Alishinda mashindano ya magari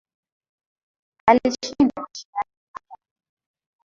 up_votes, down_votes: 1, 2